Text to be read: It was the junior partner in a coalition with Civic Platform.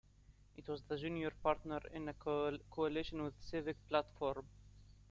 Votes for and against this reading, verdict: 0, 2, rejected